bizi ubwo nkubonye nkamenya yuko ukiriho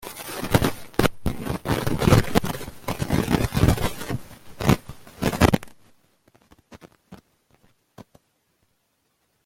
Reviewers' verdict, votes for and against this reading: rejected, 0, 2